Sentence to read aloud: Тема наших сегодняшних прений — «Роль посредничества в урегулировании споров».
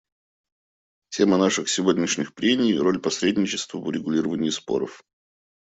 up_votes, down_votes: 2, 0